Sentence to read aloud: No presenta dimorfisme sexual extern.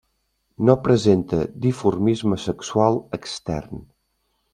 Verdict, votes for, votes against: rejected, 1, 2